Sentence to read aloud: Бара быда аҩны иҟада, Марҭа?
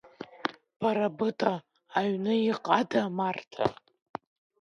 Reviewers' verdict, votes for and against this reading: rejected, 0, 2